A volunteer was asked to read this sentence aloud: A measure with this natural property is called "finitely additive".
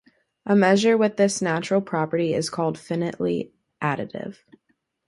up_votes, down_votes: 2, 0